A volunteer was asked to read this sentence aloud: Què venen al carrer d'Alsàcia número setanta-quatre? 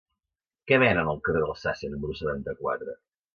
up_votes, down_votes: 2, 0